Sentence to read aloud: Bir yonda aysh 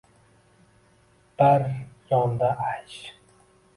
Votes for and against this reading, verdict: 0, 2, rejected